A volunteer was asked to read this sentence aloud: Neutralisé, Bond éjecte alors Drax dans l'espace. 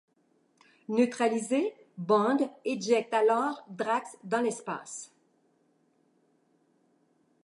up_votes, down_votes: 2, 0